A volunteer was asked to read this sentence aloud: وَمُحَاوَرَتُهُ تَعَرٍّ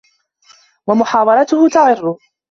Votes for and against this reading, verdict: 1, 2, rejected